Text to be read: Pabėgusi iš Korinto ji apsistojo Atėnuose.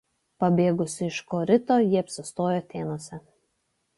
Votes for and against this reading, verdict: 1, 2, rejected